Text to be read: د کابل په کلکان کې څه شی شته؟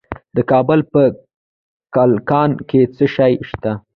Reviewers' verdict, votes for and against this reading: rejected, 1, 2